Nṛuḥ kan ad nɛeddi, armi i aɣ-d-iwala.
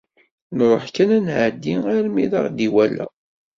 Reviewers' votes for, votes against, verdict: 2, 0, accepted